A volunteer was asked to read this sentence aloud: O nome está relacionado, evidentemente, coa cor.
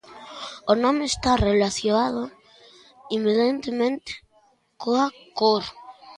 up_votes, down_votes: 0, 2